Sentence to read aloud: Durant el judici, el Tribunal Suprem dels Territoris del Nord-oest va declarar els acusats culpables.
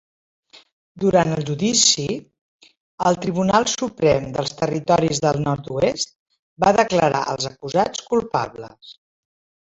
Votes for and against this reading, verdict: 6, 4, accepted